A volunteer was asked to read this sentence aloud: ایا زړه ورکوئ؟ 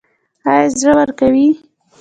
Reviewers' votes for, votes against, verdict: 2, 0, accepted